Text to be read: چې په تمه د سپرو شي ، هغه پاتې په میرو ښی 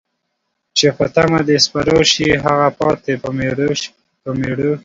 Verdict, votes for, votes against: rejected, 1, 3